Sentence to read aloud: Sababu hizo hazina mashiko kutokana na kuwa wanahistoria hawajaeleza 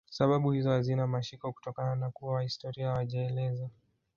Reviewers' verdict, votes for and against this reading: rejected, 2, 4